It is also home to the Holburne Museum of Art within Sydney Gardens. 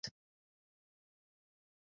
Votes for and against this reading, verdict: 0, 2, rejected